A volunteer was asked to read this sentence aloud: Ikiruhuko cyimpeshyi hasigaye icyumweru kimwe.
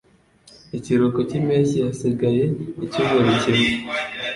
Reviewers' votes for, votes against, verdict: 2, 0, accepted